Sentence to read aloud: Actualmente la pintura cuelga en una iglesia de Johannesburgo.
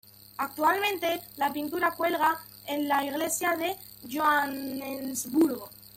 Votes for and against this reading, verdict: 2, 1, accepted